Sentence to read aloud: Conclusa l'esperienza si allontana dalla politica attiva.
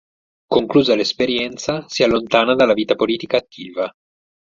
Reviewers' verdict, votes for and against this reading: rejected, 4, 6